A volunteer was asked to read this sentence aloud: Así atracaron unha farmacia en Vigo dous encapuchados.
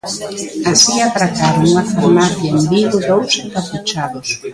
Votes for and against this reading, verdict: 2, 1, accepted